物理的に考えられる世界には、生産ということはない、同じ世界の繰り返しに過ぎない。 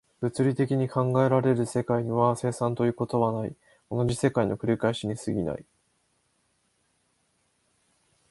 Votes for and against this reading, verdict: 14, 3, accepted